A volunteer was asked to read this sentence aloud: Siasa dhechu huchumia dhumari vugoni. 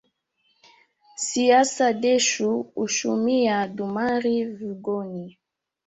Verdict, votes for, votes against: rejected, 0, 2